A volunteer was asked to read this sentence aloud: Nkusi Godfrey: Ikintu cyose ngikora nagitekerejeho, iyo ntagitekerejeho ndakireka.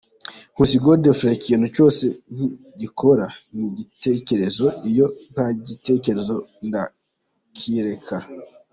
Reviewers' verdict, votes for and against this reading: rejected, 0, 2